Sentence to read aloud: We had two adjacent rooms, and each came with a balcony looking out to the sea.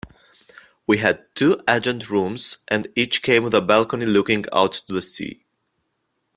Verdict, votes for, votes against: rejected, 0, 2